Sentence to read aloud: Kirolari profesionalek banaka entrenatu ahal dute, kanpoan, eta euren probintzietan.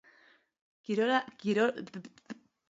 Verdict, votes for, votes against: rejected, 0, 3